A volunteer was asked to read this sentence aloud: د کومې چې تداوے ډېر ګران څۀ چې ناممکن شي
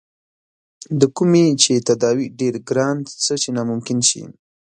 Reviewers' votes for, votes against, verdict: 2, 0, accepted